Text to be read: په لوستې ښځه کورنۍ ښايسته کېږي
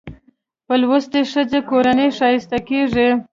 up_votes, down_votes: 2, 1